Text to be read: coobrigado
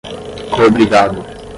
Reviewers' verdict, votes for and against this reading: rejected, 0, 5